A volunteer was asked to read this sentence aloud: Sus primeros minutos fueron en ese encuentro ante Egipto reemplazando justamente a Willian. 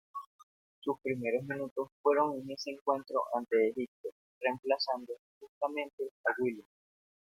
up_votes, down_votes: 0, 2